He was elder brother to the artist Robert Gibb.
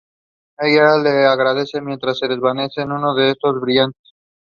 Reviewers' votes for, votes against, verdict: 0, 2, rejected